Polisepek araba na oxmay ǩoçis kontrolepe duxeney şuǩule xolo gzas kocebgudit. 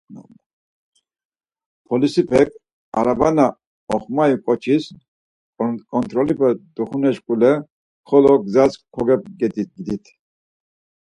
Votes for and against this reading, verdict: 2, 4, rejected